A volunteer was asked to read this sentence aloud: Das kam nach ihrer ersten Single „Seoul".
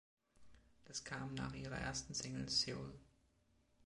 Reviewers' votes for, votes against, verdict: 2, 0, accepted